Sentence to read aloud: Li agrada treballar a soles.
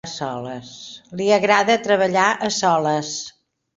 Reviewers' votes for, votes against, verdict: 0, 2, rejected